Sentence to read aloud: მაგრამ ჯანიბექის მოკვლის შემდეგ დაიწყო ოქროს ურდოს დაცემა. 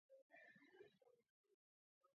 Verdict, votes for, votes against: rejected, 0, 2